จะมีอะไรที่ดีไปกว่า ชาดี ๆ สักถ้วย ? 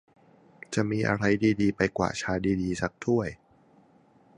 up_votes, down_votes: 1, 2